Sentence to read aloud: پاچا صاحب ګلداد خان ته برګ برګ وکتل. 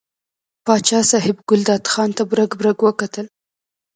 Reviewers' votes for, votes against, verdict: 1, 2, rejected